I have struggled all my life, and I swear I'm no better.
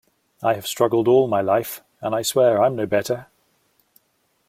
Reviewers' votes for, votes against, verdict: 2, 0, accepted